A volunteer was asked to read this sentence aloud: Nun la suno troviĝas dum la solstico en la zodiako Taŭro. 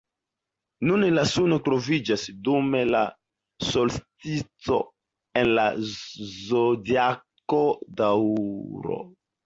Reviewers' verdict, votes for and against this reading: rejected, 0, 2